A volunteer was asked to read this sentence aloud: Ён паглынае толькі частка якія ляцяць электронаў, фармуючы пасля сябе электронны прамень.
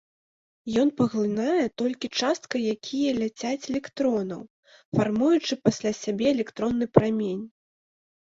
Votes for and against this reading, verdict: 2, 0, accepted